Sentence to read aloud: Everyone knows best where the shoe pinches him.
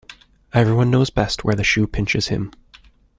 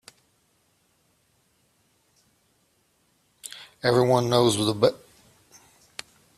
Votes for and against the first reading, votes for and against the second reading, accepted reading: 2, 0, 0, 2, first